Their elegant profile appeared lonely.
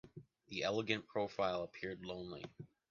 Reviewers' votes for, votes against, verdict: 0, 2, rejected